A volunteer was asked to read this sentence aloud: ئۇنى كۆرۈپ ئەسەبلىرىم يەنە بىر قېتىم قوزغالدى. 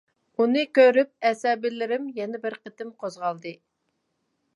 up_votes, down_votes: 1, 2